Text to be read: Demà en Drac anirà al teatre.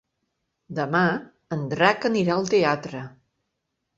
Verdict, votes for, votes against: accepted, 2, 0